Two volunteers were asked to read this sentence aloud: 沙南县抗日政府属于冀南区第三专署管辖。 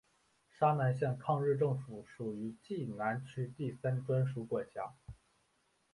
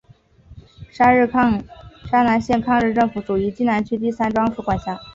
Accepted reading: second